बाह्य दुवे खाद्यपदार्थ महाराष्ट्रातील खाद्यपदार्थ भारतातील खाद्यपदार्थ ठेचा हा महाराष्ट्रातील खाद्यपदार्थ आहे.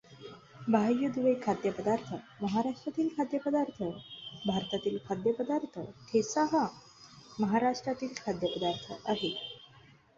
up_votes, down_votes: 2, 0